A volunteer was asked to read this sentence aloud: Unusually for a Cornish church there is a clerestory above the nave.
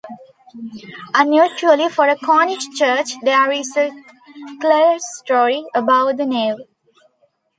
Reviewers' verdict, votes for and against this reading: rejected, 0, 2